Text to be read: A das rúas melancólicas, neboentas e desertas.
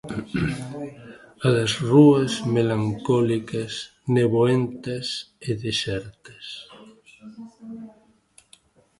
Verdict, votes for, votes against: accepted, 2, 1